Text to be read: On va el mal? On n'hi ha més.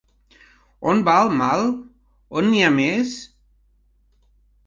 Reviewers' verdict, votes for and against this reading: rejected, 0, 2